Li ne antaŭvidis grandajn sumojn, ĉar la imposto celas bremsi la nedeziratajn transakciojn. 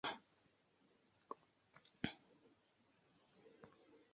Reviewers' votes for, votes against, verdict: 1, 2, rejected